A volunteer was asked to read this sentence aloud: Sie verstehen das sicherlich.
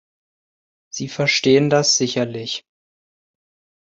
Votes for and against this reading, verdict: 2, 0, accepted